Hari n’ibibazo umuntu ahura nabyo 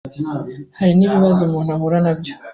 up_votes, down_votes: 2, 0